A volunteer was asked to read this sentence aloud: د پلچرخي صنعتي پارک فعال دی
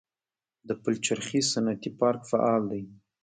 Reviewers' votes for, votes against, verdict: 2, 0, accepted